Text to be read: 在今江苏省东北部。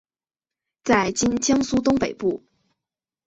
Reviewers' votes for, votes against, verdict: 7, 1, accepted